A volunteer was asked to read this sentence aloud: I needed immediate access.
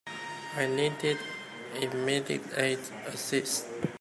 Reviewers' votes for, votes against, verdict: 1, 2, rejected